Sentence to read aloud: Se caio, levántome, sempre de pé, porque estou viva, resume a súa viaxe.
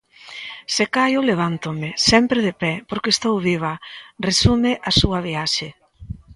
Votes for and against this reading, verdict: 2, 1, accepted